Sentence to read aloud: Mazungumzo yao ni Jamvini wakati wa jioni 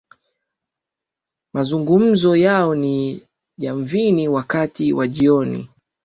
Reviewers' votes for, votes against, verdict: 2, 0, accepted